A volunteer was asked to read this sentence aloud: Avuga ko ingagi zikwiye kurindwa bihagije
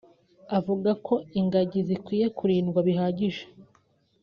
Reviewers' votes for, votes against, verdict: 3, 0, accepted